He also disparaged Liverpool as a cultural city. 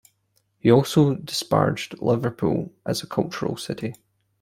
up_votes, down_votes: 2, 0